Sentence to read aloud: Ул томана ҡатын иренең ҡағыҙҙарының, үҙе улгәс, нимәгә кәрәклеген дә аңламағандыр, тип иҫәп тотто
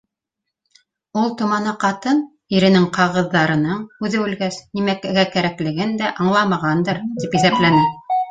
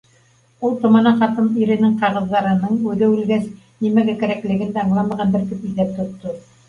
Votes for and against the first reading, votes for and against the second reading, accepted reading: 0, 2, 2, 1, second